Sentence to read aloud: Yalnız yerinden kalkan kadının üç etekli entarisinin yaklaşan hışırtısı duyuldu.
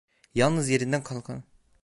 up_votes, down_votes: 0, 2